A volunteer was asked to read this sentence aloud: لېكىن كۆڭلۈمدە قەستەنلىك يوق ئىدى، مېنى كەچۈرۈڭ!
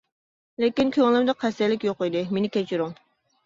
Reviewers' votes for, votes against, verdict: 0, 2, rejected